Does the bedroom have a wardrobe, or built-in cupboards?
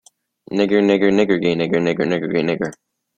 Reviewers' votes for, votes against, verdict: 0, 2, rejected